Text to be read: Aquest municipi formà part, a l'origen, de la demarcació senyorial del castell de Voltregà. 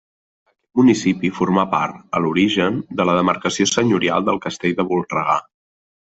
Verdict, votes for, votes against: rejected, 0, 2